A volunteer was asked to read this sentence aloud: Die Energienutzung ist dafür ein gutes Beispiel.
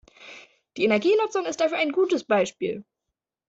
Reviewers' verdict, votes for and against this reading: accepted, 2, 0